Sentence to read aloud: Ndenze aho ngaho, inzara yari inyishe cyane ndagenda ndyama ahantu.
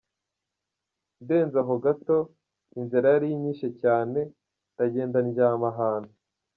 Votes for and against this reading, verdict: 1, 2, rejected